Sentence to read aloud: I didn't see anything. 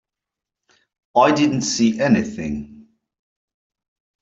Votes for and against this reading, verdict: 3, 0, accepted